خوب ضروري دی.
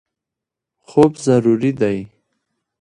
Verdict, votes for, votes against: accepted, 2, 0